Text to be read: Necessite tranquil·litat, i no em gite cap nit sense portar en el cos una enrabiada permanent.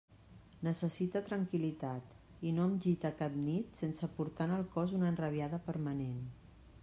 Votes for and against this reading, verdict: 2, 0, accepted